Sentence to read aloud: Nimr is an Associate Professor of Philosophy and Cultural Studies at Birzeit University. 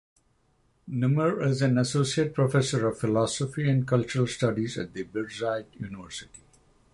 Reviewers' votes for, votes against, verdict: 0, 3, rejected